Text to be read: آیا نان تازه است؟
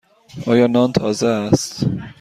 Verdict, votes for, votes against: accepted, 2, 0